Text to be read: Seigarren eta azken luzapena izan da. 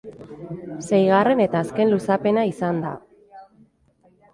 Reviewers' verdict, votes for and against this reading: accepted, 2, 0